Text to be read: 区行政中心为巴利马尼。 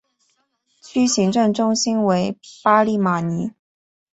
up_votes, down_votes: 2, 0